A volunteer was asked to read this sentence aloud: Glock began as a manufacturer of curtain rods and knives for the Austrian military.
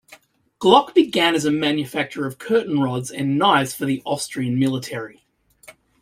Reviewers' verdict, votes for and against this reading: accepted, 2, 0